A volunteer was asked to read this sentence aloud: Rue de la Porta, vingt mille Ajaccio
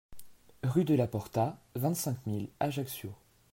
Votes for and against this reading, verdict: 0, 2, rejected